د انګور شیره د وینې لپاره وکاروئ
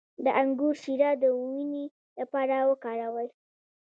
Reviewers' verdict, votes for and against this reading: accepted, 2, 0